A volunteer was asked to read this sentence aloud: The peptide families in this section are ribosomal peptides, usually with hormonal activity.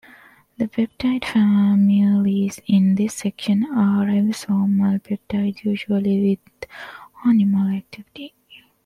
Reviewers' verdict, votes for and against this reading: rejected, 0, 2